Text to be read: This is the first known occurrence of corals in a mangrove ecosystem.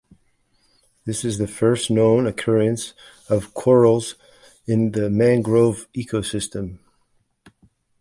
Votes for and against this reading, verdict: 2, 1, accepted